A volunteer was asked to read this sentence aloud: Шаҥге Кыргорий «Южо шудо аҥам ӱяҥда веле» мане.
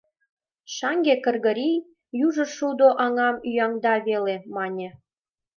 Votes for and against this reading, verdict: 2, 0, accepted